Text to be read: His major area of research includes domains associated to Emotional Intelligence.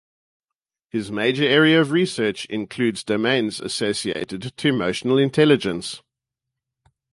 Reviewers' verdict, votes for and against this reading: accepted, 4, 0